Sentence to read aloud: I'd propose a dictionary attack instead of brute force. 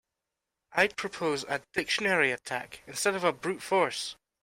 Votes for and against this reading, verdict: 0, 2, rejected